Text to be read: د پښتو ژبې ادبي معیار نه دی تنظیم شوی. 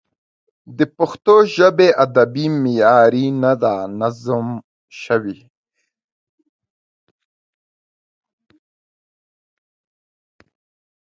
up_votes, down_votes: 0, 2